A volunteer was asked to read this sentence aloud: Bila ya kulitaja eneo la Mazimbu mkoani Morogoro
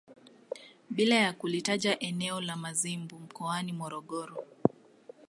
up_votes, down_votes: 2, 0